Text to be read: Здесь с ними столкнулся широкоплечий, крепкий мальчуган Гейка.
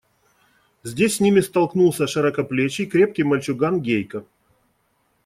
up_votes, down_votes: 2, 0